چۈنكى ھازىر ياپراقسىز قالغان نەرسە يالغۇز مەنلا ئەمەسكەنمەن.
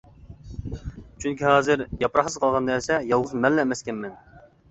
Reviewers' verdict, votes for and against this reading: rejected, 0, 2